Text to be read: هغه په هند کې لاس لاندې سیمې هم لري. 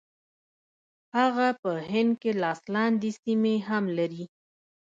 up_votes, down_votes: 1, 2